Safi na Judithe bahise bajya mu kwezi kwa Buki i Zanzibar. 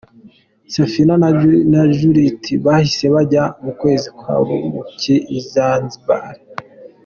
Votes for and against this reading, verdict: 2, 0, accepted